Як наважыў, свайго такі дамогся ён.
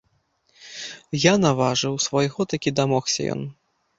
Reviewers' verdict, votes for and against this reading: rejected, 1, 2